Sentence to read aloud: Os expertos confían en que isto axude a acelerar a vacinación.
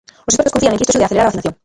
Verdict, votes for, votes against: rejected, 0, 2